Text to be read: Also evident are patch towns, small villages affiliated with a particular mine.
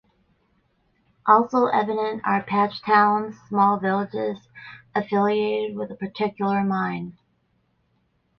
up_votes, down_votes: 0, 2